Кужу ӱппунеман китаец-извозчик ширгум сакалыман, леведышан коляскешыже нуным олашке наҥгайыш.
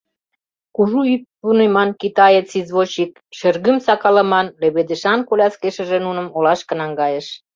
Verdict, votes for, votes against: rejected, 0, 2